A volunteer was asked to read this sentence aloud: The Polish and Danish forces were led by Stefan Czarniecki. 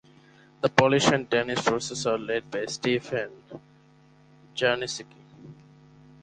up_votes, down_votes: 0, 2